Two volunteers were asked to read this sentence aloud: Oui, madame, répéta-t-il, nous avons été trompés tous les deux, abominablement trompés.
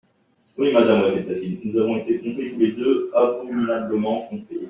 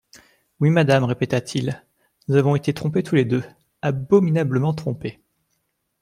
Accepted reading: second